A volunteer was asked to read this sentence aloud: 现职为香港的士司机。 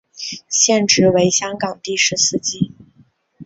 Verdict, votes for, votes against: accepted, 2, 0